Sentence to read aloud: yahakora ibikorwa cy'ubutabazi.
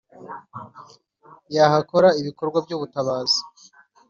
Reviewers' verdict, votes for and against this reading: accepted, 2, 0